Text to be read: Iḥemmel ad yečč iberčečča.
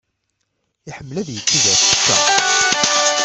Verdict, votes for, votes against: rejected, 0, 2